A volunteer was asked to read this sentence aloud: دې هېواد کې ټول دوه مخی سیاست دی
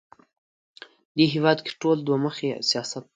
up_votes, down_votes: 1, 2